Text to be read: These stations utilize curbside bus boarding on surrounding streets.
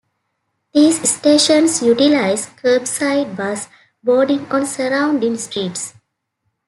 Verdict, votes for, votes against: accepted, 2, 0